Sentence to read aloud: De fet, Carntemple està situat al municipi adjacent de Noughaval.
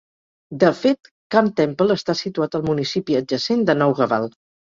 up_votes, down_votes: 4, 0